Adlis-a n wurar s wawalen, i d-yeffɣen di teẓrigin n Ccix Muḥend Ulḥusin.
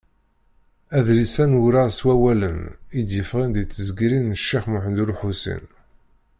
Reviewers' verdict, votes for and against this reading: rejected, 1, 2